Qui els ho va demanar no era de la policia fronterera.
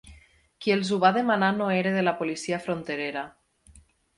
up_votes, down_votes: 8, 0